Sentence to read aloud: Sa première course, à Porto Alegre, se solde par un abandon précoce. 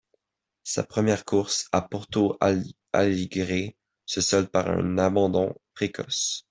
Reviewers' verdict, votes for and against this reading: rejected, 0, 2